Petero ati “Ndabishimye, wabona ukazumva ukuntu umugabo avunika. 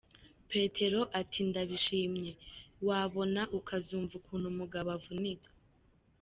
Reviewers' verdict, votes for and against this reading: accepted, 2, 0